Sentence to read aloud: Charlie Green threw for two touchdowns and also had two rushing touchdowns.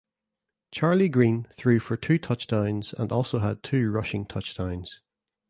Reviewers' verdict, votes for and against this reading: accepted, 2, 0